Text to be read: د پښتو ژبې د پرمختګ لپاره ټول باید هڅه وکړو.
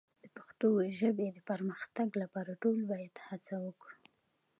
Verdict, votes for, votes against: accepted, 2, 0